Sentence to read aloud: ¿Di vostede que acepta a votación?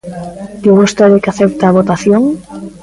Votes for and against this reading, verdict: 0, 2, rejected